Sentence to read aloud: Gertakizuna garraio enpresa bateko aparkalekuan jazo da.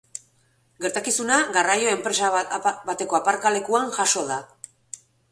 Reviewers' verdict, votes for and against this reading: rejected, 0, 2